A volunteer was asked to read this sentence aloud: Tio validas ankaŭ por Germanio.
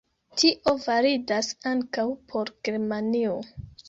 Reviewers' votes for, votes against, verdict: 0, 2, rejected